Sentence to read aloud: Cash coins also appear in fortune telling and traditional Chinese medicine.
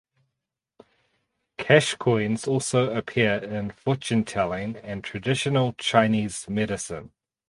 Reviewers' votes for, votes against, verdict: 2, 2, rejected